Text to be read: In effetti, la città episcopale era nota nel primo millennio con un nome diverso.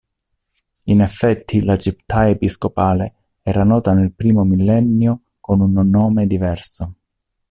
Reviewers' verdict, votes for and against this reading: rejected, 1, 2